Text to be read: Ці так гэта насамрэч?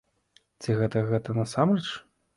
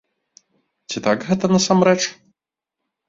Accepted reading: second